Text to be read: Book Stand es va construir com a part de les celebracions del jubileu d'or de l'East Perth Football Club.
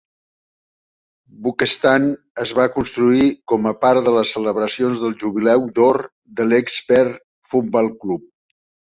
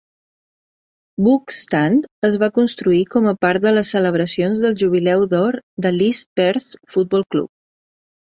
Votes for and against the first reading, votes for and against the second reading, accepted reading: 2, 3, 2, 0, second